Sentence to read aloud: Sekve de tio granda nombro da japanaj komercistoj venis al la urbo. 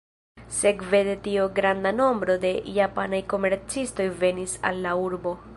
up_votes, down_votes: 1, 2